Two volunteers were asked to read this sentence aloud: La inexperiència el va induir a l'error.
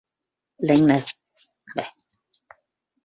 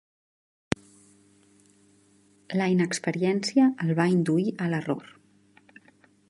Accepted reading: second